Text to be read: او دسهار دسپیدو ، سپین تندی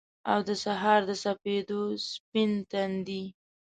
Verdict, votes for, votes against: accepted, 2, 1